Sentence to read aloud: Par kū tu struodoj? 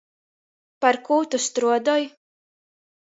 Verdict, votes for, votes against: accepted, 2, 0